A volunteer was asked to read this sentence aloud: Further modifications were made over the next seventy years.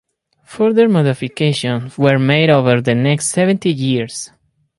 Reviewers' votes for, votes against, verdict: 0, 4, rejected